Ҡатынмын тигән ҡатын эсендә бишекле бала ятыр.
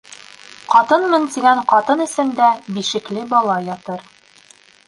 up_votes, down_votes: 1, 2